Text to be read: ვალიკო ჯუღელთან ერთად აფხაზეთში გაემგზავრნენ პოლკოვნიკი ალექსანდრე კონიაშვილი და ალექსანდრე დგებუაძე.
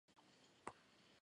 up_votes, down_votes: 0, 2